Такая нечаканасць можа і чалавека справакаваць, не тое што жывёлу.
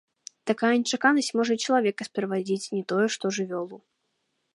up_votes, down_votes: 0, 2